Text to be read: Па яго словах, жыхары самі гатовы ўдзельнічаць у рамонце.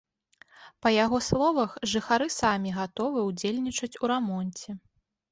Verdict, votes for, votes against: accepted, 2, 0